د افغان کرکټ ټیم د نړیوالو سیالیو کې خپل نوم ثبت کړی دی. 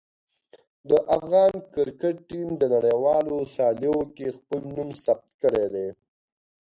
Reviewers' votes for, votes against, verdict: 2, 0, accepted